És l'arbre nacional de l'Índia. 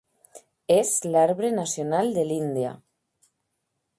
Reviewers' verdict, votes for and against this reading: accepted, 2, 0